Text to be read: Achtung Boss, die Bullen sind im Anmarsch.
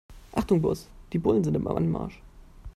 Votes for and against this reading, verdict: 1, 2, rejected